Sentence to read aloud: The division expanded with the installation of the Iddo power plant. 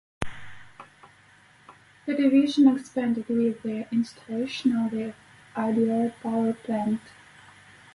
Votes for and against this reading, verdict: 2, 4, rejected